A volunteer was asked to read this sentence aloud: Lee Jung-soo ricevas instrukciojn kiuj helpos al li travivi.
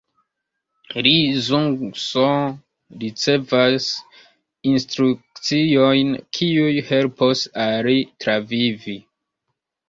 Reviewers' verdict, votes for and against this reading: accepted, 2, 1